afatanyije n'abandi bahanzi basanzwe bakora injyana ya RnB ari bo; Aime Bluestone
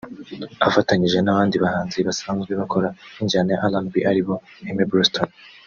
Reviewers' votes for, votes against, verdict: 2, 0, accepted